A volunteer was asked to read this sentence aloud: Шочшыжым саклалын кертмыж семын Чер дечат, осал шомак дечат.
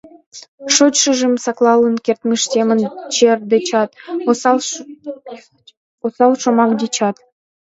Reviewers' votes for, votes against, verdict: 0, 2, rejected